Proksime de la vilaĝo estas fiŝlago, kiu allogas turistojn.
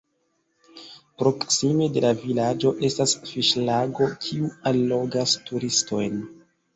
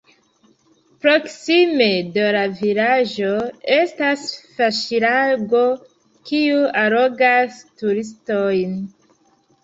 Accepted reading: first